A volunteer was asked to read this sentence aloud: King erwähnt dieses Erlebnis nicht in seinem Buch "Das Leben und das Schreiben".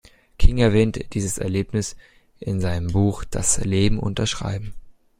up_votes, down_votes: 0, 2